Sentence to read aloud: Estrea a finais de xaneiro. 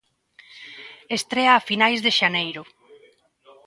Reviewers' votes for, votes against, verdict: 2, 0, accepted